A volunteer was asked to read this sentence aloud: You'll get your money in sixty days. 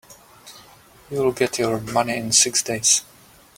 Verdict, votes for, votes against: rejected, 0, 3